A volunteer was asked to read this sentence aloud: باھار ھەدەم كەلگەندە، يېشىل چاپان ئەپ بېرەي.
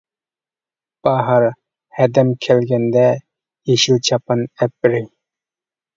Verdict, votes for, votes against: accepted, 2, 0